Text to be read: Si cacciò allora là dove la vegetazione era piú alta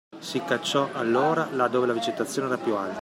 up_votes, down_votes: 2, 0